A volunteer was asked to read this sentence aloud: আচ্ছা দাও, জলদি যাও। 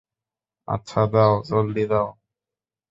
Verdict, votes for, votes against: accepted, 2, 0